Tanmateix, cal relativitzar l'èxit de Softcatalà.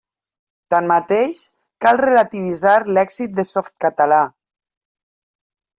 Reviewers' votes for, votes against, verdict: 3, 0, accepted